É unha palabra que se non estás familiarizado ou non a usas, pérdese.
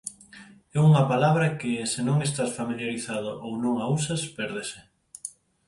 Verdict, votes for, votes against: rejected, 2, 4